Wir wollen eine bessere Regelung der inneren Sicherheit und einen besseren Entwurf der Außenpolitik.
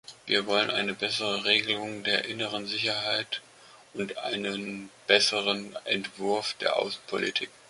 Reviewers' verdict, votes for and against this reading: accepted, 2, 0